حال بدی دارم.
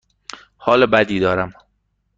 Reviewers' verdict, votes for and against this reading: accepted, 2, 0